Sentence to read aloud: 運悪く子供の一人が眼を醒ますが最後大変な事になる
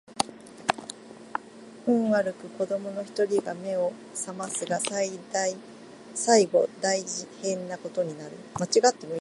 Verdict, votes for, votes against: rejected, 0, 2